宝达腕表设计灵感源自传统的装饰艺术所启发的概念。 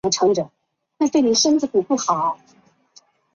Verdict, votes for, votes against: rejected, 1, 2